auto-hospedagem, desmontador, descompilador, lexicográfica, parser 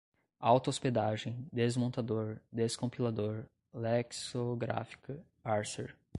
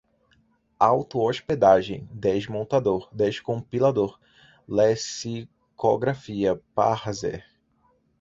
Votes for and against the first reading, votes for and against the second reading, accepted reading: 2, 0, 1, 2, first